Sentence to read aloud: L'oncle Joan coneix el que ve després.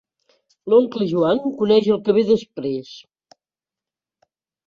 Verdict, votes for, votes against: accepted, 2, 0